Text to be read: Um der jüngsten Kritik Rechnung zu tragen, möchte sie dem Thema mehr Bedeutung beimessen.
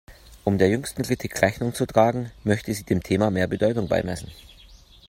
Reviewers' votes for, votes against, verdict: 2, 0, accepted